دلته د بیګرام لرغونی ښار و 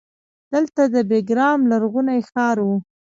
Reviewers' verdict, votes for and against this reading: accepted, 2, 1